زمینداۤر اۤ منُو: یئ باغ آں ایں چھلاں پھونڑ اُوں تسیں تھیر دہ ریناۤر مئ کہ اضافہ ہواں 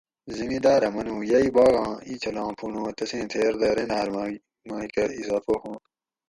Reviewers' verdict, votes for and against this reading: accepted, 4, 0